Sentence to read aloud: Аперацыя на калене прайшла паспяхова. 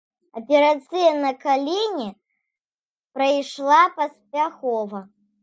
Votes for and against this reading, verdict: 0, 2, rejected